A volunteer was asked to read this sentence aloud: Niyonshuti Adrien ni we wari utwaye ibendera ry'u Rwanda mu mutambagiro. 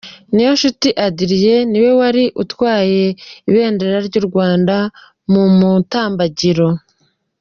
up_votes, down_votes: 2, 0